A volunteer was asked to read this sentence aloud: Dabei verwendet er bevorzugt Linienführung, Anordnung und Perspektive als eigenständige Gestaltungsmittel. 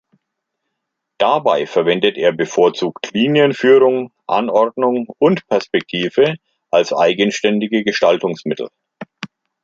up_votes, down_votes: 2, 0